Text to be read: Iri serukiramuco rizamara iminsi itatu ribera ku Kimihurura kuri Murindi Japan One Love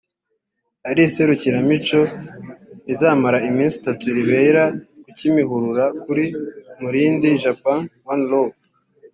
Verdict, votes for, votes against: rejected, 1, 2